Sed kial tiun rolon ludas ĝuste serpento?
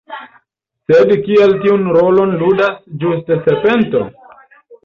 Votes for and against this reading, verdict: 2, 0, accepted